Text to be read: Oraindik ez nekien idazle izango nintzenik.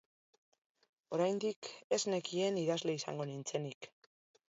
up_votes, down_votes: 2, 0